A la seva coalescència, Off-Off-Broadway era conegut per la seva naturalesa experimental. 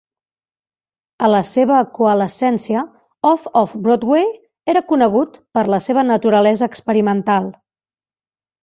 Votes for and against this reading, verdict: 2, 0, accepted